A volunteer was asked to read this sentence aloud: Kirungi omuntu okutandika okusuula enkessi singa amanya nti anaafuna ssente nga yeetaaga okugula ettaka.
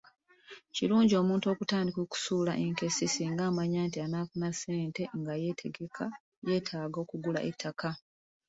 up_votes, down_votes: 2, 1